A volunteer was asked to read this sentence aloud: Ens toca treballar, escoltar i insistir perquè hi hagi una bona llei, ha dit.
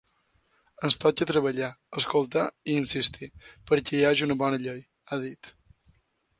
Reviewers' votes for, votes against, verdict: 0, 2, rejected